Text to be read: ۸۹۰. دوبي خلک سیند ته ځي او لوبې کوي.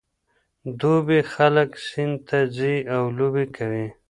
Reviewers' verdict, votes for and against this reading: rejected, 0, 2